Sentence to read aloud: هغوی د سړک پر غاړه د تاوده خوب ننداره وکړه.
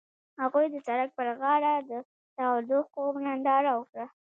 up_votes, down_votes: 1, 2